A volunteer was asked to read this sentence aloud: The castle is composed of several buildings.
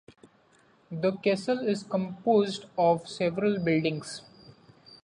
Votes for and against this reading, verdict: 2, 0, accepted